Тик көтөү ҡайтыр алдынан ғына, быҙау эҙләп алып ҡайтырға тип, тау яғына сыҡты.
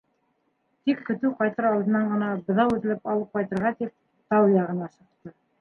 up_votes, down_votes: 1, 2